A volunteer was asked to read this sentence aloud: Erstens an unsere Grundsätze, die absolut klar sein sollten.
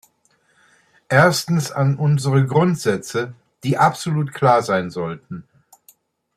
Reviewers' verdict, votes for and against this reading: accepted, 2, 0